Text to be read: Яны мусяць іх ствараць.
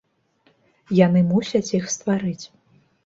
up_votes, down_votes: 0, 2